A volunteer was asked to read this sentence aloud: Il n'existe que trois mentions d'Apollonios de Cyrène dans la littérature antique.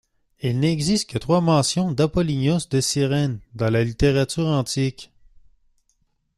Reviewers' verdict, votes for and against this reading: rejected, 1, 2